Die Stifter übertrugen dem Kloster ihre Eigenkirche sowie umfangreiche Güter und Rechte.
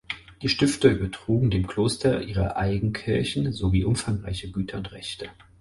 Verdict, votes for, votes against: accepted, 4, 0